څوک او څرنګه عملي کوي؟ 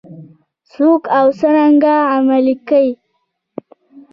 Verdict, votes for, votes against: rejected, 1, 3